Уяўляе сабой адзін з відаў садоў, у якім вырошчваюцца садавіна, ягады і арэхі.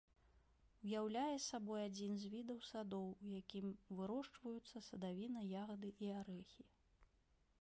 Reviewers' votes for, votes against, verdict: 1, 3, rejected